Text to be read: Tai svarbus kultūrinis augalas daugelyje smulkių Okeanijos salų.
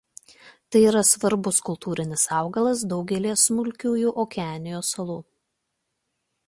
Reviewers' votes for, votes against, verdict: 0, 2, rejected